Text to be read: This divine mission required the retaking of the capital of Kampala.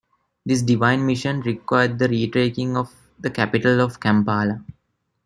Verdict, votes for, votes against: accepted, 2, 0